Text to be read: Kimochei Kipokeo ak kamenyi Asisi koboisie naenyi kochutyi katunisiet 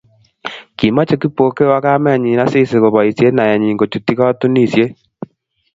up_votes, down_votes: 2, 0